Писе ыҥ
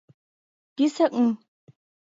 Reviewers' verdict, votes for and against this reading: accepted, 2, 0